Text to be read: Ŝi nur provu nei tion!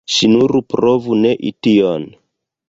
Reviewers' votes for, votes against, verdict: 2, 0, accepted